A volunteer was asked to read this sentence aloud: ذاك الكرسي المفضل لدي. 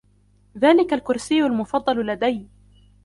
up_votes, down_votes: 0, 2